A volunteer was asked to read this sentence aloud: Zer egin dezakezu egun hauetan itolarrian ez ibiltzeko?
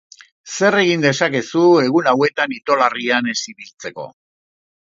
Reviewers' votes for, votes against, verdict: 2, 0, accepted